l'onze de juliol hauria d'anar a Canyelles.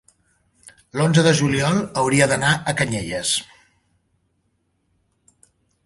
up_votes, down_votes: 3, 0